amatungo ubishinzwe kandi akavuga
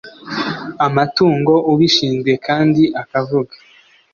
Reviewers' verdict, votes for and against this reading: accepted, 2, 0